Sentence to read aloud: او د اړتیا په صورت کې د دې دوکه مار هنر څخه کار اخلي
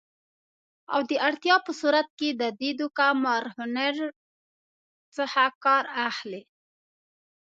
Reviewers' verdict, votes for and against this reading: accepted, 2, 0